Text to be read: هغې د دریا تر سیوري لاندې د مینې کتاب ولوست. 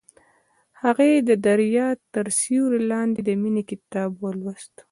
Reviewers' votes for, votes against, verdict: 2, 0, accepted